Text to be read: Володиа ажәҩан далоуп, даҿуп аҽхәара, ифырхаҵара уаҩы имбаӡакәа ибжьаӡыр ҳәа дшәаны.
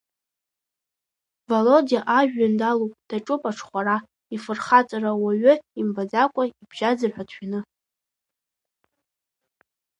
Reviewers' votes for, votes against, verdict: 2, 0, accepted